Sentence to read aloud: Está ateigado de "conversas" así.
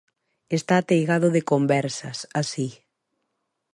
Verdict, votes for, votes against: accepted, 2, 0